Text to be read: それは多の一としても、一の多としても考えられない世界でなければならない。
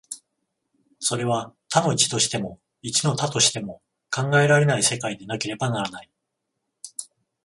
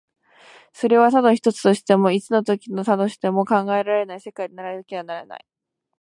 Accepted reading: first